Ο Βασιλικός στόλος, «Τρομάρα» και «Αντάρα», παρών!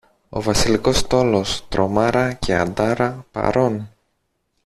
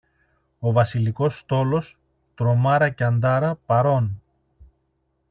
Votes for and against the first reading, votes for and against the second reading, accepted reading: 1, 2, 2, 0, second